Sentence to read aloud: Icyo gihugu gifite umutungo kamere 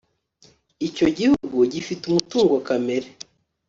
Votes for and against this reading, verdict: 2, 0, accepted